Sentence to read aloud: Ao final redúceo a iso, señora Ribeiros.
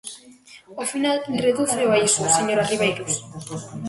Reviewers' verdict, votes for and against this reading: rejected, 1, 2